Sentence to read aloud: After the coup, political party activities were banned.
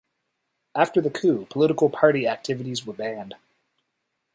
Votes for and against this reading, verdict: 2, 1, accepted